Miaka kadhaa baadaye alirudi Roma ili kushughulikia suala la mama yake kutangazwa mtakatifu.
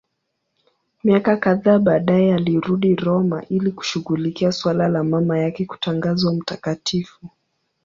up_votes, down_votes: 5, 0